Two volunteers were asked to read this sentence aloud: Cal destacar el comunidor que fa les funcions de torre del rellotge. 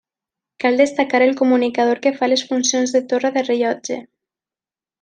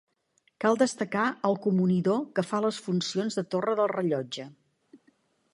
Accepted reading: second